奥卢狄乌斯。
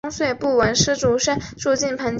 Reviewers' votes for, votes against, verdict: 2, 4, rejected